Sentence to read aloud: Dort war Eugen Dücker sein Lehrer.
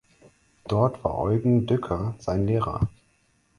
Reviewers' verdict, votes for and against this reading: accepted, 4, 0